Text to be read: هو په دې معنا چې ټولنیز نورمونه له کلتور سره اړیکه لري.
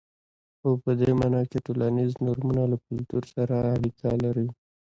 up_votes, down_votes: 2, 1